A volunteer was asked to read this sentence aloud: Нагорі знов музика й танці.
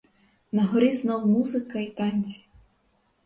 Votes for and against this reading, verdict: 2, 2, rejected